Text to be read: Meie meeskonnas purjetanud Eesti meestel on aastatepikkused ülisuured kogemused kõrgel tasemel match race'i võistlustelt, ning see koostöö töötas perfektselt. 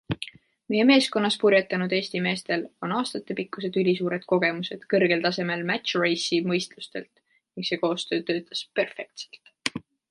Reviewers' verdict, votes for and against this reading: accepted, 2, 0